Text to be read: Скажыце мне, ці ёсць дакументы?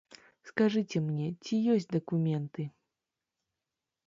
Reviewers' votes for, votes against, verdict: 2, 0, accepted